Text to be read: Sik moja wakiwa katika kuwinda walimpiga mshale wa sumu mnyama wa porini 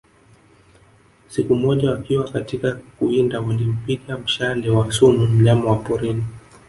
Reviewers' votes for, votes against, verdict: 0, 2, rejected